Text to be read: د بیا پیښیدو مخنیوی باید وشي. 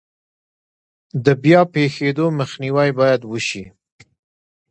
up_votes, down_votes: 2, 1